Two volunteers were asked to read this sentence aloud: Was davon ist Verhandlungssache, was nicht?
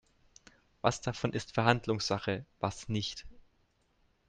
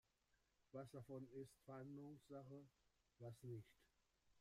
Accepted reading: first